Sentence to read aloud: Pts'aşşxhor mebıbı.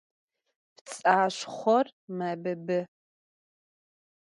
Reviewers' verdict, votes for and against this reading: accepted, 2, 0